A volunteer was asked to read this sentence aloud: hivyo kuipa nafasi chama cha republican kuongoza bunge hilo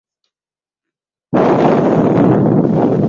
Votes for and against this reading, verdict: 0, 2, rejected